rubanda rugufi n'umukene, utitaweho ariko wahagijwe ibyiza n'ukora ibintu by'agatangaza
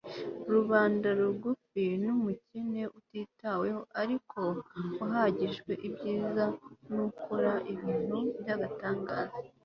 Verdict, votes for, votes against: accepted, 2, 0